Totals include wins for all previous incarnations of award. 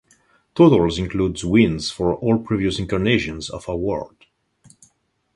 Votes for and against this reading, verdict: 2, 2, rejected